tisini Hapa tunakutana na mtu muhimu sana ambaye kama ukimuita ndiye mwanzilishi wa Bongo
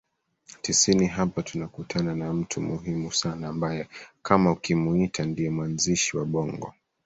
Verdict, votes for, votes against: rejected, 1, 2